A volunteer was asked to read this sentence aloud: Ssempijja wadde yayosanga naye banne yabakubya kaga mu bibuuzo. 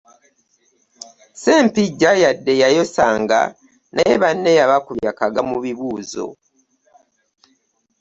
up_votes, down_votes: 0, 2